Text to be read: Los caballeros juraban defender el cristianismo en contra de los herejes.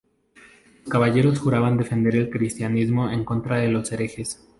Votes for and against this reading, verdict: 0, 2, rejected